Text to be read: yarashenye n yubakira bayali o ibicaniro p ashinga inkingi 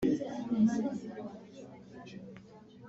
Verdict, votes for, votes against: rejected, 1, 2